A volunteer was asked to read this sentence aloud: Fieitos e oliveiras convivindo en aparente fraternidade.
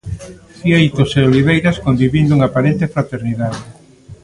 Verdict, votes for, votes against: rejected, 1, 2